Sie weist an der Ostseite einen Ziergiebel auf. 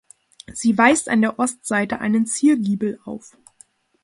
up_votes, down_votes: 2, 0